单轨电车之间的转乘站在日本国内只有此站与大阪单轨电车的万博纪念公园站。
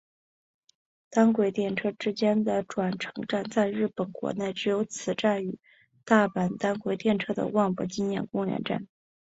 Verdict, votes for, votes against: accepted, 2, 1